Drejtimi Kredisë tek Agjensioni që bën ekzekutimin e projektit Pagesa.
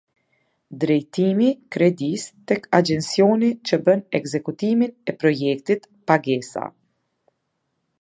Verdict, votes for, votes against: accepted, 2, 0